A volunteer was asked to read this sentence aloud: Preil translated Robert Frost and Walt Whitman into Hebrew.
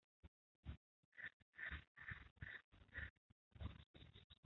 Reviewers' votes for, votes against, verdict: 0, 2, rejected